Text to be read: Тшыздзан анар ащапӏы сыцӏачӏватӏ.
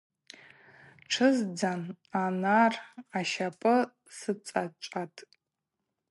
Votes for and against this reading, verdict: 4, 0, accepted